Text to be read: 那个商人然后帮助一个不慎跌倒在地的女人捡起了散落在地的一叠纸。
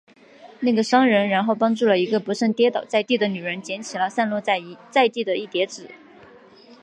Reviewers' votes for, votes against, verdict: 1, 2, rejected